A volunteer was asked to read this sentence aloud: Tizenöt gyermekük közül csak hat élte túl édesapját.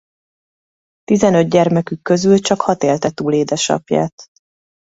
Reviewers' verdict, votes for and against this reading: accepted, 2, 0